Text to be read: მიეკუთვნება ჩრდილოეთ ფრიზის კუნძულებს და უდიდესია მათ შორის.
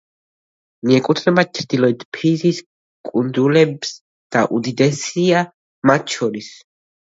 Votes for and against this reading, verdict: 0, 2, rejected